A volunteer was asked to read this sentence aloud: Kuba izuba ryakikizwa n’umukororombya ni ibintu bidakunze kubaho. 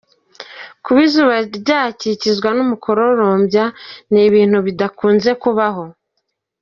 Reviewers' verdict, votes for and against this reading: accepted, 2, 0